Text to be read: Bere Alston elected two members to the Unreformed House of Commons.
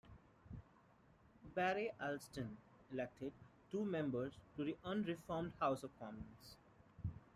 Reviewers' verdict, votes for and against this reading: accepted, 2, 1